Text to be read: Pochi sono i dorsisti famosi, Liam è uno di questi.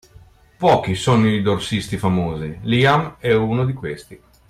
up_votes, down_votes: 2, 0